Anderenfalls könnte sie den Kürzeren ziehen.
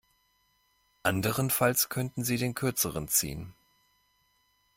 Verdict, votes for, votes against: rejected, 0, 2